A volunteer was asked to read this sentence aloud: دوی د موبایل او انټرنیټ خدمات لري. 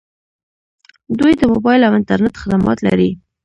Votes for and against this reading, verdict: 2, 1, accepted